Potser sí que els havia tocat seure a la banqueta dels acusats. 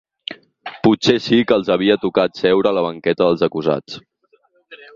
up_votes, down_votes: 8, 0